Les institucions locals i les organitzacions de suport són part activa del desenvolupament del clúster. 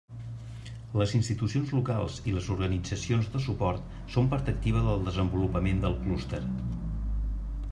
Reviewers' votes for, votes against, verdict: 3, 0, accepted